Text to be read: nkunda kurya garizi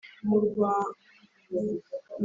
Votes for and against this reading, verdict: 0, 2, rejected